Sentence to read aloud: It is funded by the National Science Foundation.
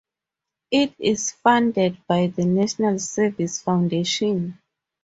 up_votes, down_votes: 0, 4